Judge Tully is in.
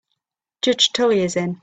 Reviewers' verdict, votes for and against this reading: accepted, 3, 0